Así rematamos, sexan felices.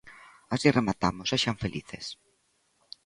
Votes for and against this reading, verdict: 2, 0, accepted